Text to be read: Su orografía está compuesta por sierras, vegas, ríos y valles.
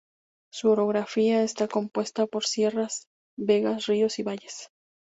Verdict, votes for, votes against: accepted, 4, 0